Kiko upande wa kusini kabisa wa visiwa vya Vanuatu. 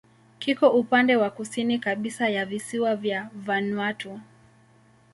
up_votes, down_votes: 2, 0